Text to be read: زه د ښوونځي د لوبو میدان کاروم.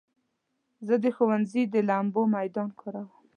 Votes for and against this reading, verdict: 1, 2, rejected